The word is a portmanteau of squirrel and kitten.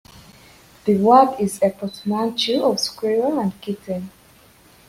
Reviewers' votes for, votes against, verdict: 1, 2, rejected